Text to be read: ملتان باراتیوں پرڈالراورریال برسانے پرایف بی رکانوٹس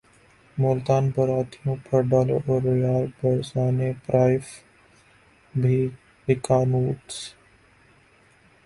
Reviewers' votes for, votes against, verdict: 0, 2, rejected